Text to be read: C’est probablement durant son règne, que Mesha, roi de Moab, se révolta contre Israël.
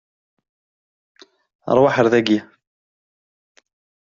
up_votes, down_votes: 0, 2